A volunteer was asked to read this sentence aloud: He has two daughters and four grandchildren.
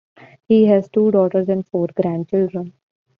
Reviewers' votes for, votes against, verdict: 2, 0, accepted